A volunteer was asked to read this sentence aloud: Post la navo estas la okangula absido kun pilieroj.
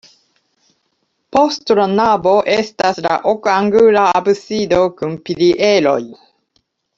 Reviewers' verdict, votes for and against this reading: rejected, 1, 2